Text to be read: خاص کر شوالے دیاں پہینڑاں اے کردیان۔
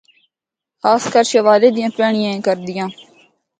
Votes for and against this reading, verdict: 0, 2, rejected